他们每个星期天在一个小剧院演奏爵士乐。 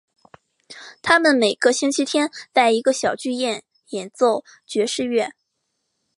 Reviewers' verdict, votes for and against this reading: accepted, 3, 0